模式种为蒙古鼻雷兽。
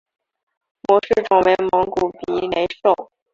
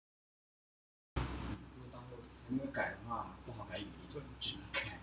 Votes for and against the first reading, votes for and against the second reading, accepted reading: 4, 3, 0, 2, first